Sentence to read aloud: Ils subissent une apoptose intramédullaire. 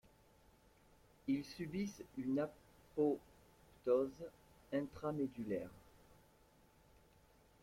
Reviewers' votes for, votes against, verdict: 0, 2, rejected